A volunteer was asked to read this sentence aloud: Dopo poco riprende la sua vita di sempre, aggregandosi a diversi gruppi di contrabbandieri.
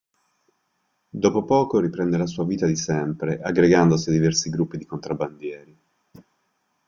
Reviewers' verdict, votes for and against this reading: accepted, 2, 0